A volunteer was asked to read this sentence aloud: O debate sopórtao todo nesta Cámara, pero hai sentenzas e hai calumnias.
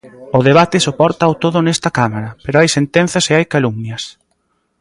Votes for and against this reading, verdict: 2, 0, accepted